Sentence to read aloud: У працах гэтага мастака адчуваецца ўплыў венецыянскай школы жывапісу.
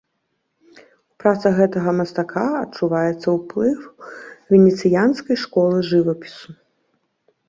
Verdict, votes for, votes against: rejected, 1, 2